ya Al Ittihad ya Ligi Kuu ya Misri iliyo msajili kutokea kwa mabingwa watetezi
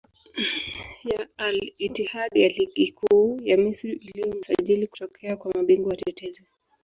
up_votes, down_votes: 1, 3